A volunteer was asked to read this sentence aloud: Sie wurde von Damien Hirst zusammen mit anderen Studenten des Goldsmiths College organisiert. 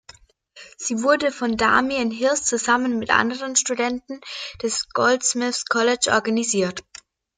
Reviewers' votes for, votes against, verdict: 2, 0, accepted